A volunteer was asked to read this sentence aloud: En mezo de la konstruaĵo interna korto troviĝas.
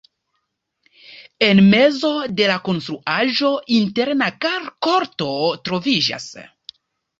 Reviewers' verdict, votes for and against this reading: rejected, 1, 2